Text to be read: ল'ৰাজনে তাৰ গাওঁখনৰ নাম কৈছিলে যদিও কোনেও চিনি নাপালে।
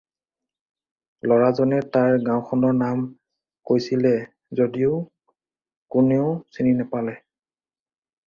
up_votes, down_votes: 4, 0